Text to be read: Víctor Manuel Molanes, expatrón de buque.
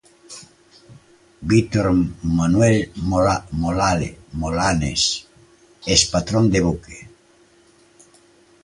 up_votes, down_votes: 1, 2